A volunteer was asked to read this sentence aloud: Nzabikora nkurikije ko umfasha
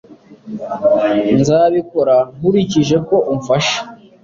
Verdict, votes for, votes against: accepted, 2, 0